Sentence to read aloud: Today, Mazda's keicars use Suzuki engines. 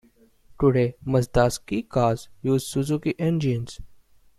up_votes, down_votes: 2, 1